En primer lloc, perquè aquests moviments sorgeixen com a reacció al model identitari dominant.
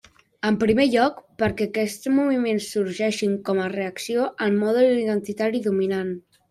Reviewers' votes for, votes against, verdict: 0, 2, rejected